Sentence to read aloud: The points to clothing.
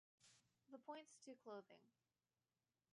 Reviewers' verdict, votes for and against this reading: rejected, 1, 2